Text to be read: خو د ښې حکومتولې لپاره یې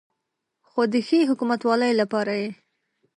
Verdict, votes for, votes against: rejected, 1, 2